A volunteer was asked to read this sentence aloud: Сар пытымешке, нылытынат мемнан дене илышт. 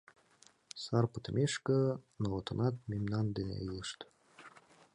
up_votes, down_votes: 0, 2